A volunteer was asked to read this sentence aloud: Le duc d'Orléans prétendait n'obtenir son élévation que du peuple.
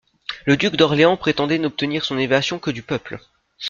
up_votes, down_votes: 0, 2